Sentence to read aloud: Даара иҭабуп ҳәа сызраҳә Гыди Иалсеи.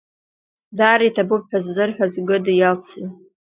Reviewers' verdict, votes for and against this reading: rejected, 0, 2